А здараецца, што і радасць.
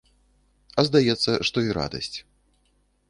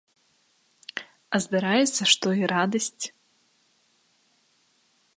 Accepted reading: second